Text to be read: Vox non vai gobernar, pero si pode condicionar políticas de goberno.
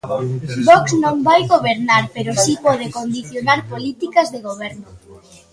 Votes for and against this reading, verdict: 2, 0, accepted